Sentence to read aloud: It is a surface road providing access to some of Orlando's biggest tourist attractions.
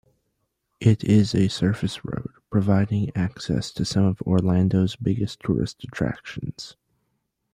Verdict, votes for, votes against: accepted, 2, 0